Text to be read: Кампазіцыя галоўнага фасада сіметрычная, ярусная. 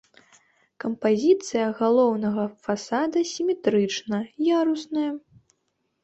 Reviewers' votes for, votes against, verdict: 2, 0, accepted